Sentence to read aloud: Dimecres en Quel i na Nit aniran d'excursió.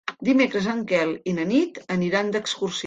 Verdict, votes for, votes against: rejected, 3, 4